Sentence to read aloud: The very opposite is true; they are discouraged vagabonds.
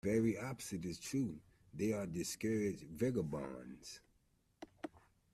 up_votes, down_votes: 1, 2